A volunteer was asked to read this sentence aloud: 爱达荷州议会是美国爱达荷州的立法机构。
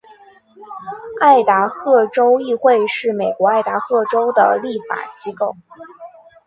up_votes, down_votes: 2, 0